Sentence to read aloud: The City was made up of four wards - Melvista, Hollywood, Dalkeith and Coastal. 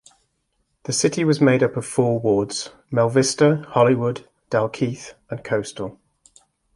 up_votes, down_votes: 2, 1